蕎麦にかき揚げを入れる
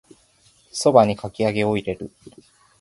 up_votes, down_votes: 2, 0